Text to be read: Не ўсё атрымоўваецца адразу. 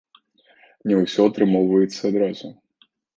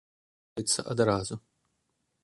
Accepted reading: first